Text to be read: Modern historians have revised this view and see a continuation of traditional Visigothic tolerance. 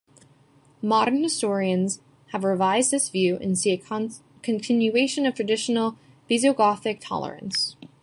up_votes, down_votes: 1, 2